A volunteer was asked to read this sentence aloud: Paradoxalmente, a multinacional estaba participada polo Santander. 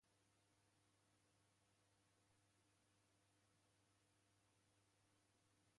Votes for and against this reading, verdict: 0, 2, rejected